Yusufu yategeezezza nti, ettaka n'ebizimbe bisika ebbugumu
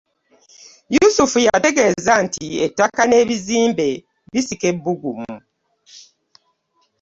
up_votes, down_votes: 1, 2